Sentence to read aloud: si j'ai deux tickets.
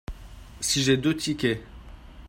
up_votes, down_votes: 2, 0